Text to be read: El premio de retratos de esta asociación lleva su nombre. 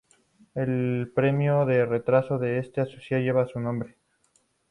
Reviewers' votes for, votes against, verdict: 0, 2, rejected